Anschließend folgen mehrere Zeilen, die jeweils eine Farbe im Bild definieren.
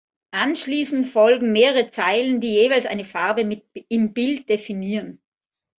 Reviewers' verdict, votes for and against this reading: rejected, 0, 2